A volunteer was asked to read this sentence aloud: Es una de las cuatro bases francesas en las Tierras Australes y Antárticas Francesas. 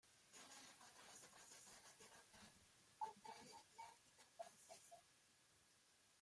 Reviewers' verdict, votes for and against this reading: rejected, 0, 2